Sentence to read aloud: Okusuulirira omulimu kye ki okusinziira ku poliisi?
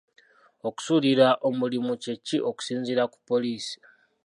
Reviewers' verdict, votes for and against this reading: accepted, 2, 0